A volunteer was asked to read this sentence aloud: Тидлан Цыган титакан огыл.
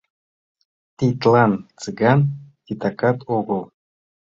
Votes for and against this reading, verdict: 2, 0, accepted